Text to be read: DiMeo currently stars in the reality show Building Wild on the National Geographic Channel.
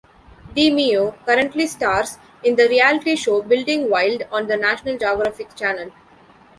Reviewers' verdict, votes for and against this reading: rejected, 1, 2